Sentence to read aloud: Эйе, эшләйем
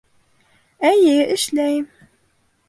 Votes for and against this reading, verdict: 2, 0, accepted